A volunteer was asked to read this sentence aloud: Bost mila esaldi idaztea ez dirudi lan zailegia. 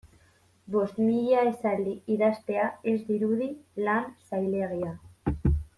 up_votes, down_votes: 2, 0